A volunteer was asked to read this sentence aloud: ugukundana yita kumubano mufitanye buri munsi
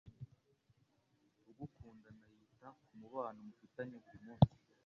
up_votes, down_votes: 1, 2